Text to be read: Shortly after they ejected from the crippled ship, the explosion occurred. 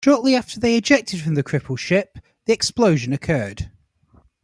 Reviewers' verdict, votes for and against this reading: accepted, 2, 0